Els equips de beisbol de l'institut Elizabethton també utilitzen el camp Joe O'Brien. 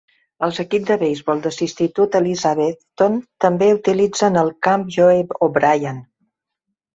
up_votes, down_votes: 2, 0